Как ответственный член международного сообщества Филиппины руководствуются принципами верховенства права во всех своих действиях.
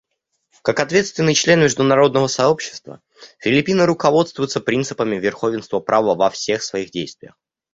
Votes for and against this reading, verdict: 0, 2, rejected